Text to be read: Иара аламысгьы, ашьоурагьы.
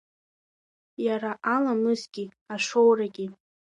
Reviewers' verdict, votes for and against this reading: rejected, 0, 3